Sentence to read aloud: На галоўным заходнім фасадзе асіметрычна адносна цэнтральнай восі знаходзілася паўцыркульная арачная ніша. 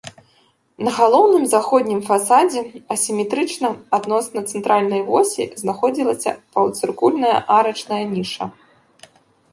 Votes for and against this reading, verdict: 1, 2, rejected